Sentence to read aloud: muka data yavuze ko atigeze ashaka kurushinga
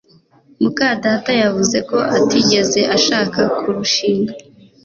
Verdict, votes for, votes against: accepted, 2, 0